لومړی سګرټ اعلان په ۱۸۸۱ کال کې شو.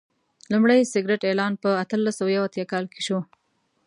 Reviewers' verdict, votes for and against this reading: rejected, 0, 2